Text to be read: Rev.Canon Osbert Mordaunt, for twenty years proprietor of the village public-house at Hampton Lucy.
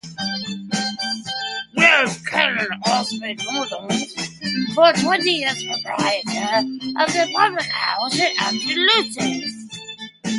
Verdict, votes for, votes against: rejected, 0, 2